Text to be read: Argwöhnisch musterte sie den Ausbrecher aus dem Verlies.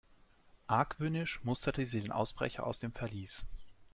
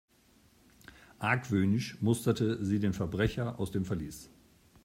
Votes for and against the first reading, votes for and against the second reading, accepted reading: 3, 0, 0, 2, first